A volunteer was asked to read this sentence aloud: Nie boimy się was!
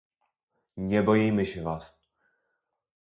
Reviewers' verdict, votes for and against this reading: accepted, 4, 0